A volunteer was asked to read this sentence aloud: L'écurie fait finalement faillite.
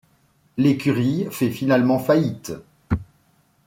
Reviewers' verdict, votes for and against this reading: accepted, 2, 1